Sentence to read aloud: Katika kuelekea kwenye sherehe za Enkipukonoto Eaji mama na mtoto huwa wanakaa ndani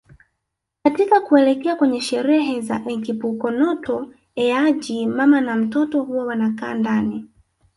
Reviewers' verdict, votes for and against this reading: rejected, 0, 2